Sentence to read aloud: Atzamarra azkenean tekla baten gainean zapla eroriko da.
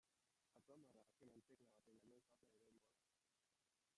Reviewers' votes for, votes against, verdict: 0, 2, rejected